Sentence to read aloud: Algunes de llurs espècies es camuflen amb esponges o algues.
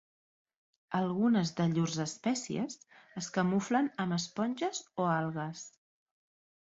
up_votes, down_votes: 2, 0